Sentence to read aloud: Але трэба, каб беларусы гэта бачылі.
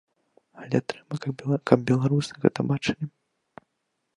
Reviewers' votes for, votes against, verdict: 1, 2, rejected